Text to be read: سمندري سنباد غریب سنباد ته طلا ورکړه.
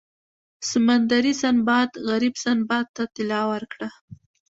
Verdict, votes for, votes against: accepted, 2, 1